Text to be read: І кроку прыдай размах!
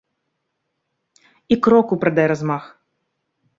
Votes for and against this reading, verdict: 2, 0, accepted